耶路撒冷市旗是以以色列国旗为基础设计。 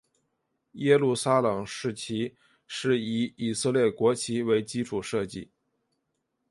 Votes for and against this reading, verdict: 5, 1, accepted